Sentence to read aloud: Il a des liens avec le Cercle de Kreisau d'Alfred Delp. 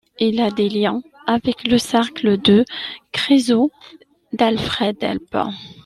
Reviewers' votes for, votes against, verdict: 0, 2, rejected